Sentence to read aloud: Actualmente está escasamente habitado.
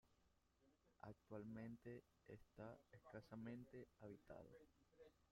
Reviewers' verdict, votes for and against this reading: rejected, 0, 2